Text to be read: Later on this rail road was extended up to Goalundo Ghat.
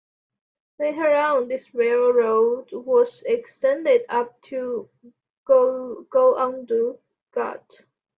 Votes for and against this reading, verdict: 0, 2, rejected